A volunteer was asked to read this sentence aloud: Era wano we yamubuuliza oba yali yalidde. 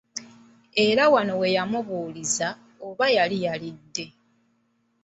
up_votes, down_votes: 0, 2